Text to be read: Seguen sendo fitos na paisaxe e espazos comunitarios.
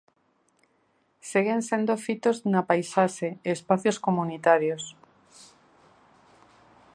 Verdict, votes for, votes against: rejected, 0, 2